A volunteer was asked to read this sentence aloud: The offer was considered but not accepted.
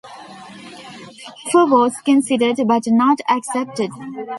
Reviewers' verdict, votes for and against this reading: rejected, 1, 2